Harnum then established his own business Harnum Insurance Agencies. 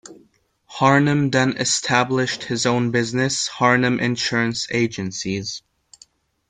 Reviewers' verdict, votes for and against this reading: accepted, 2, 0